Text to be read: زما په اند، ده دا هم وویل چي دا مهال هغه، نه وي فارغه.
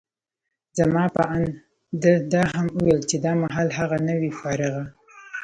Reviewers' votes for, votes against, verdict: 1, 2, rejected